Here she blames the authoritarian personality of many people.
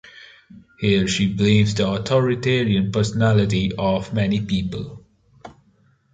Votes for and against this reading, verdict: 2, 1, accepted